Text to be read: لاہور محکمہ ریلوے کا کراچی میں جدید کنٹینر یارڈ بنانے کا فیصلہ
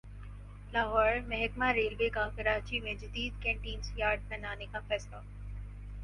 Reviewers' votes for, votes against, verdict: 4, 0, accepted